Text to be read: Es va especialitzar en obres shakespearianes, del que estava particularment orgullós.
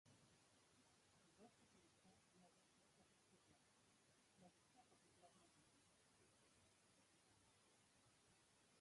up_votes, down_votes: 0, 2